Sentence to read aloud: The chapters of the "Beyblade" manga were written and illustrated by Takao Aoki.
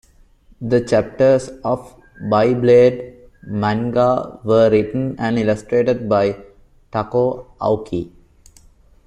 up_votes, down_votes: 1, 2